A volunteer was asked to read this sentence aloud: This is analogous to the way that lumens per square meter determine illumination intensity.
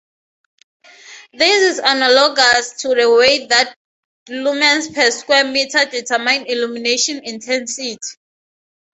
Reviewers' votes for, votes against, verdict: 0, 2, rejected